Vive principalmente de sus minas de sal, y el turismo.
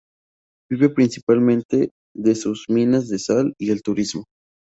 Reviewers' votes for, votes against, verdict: 0, 2, rejected